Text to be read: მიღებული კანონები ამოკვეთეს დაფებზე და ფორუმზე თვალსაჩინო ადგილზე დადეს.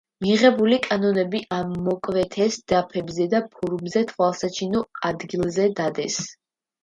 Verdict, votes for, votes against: accepted, 2, 0